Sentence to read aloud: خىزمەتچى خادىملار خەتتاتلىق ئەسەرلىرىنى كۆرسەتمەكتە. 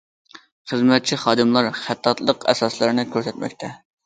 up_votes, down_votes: 0, 2